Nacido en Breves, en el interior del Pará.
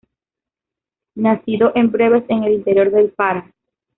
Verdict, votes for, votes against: accepted, 2, 0